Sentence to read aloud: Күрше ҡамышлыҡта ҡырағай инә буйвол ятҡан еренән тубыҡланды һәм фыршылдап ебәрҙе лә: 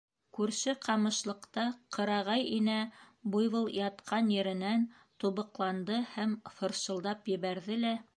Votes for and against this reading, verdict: 2, 0, accepted